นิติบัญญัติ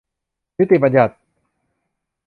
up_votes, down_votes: 3, 0